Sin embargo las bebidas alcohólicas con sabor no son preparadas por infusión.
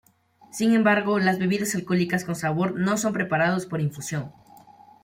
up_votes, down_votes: 0, 2